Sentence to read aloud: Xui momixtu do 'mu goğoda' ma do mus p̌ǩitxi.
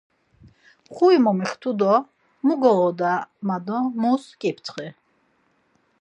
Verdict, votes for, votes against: accepted, 4, 0